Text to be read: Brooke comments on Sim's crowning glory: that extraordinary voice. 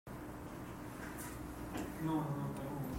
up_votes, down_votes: 0, 2